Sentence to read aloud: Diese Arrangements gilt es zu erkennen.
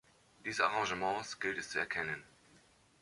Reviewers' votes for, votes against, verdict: 2, 0, accepted